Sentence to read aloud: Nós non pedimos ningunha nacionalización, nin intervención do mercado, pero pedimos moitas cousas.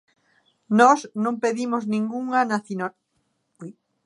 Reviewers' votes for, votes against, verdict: 0, 2, rejected